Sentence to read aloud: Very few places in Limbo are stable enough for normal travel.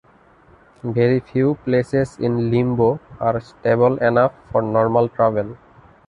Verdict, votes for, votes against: accepted, 2, 0